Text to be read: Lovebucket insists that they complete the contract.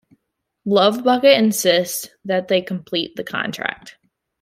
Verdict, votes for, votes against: accepted, 2, 1